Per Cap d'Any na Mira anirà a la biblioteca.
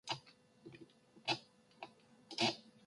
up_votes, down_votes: 0, 3